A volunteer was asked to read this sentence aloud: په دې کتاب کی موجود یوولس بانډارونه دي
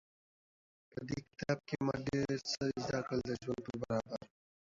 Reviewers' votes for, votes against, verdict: 1, 2, rejected